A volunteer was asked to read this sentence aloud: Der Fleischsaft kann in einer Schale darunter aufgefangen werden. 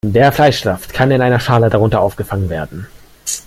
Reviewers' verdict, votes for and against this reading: rejected, 0, 2